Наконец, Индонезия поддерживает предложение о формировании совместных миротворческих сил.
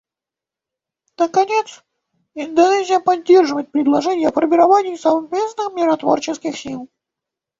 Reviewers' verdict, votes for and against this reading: rejected, 0, 2